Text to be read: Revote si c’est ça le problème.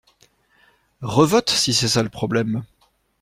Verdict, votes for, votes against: accepted, 2, 0